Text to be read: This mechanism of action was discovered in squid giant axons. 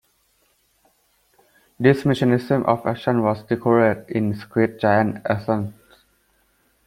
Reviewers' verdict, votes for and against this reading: rejected, 1, 2